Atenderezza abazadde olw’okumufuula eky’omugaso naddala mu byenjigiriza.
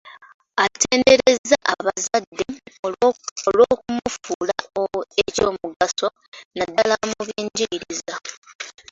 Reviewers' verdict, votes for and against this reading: rejected, 0, 2